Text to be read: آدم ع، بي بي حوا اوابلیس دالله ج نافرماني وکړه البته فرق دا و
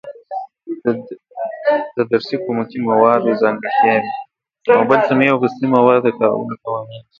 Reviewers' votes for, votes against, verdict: 0, 2, rejected